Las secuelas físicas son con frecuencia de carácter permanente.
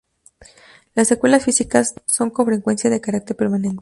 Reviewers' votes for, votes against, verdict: 0, 4, rejected